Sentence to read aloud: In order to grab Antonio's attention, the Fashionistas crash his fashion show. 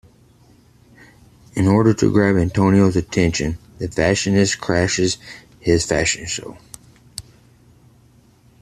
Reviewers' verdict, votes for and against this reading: rejected, 1, 2